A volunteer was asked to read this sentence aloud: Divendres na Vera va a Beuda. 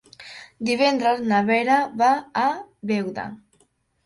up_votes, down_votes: 3, 0